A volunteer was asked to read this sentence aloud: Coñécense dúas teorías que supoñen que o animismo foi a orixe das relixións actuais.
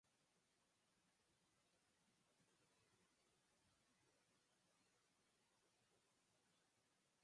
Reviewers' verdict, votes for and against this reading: rejected, 0, 4